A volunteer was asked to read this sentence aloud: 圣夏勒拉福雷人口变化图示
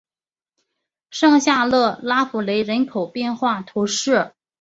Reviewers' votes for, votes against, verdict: 2, 0, accepted